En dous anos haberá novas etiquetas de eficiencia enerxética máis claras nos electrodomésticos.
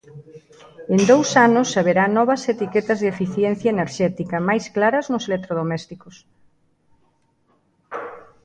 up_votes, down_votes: 2, 0